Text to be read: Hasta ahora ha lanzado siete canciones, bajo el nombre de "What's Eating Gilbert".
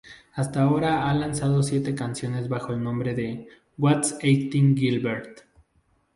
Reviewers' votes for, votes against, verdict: 0, 2, rejected